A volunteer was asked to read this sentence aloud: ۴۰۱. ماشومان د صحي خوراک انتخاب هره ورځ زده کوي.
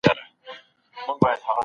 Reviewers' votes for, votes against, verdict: 0, 2, rejected